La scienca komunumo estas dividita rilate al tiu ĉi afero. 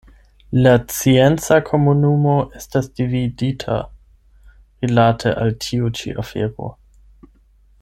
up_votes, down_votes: 4, 8